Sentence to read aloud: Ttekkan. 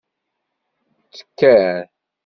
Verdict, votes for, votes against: accepted, 2, 0